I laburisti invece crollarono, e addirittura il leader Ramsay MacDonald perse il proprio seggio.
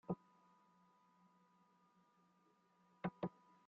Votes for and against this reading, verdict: 0, 4, rejected